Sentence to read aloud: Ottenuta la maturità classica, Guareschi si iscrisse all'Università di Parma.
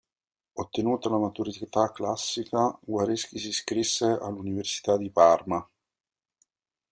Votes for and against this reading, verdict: 1, 2, rejected